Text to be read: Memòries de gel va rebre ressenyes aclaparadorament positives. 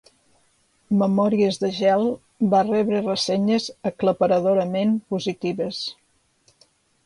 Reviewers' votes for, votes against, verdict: 2, 0, accepted